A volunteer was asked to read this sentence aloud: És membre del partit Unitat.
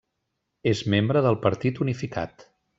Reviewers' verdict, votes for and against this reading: rejected, 1, 3